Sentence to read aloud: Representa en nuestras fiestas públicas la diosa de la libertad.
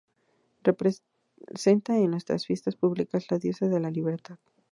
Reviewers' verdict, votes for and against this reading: rejected, 2, 2